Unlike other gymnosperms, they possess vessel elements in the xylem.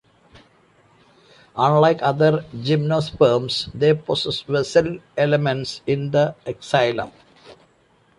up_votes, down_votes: 2, 0